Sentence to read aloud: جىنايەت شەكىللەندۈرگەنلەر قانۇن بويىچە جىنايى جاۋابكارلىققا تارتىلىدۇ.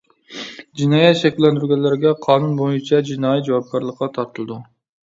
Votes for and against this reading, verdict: 0, 2, rejected